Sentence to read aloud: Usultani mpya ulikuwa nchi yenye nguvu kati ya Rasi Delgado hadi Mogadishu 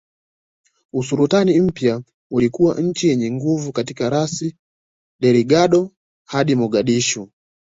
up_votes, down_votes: 0, 2